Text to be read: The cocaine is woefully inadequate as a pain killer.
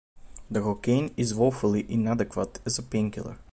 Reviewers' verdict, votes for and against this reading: accepted, 2, 0